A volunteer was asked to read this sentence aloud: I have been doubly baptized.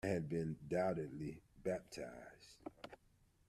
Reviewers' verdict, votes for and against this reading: rejected, 0, 2